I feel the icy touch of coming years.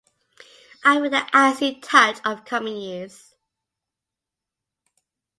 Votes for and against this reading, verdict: 0, 2, rejected